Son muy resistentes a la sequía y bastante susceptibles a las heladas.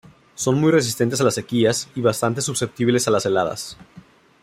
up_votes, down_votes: 0, 2